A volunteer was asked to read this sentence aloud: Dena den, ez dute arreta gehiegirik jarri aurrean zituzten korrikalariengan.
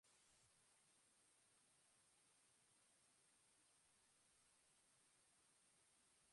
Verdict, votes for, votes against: rejected, 0, 2